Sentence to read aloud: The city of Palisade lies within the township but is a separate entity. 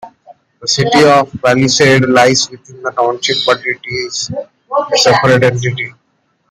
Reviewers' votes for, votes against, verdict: 2, 1, accepted